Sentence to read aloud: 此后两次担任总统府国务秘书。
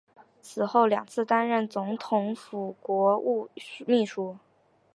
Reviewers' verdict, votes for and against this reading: accepted, 2, 0